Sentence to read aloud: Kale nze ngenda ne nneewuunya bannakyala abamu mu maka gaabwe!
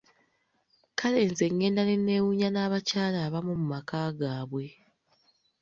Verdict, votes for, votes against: rejected, 1, 2